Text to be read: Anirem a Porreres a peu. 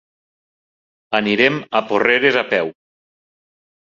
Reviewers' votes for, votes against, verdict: 3, 1, accepted